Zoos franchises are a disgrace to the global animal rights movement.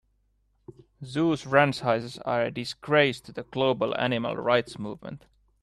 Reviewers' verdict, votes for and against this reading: accepted, 2, 1